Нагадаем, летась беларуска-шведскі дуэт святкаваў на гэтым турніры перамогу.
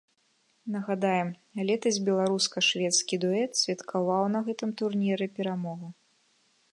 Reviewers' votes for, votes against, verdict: 2, 0, accepted